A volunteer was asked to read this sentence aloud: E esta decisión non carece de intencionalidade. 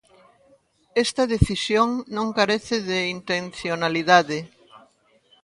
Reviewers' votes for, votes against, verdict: 1, 2, rejected